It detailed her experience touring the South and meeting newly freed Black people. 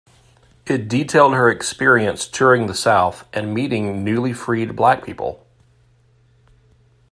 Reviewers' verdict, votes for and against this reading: accepted, 2, 0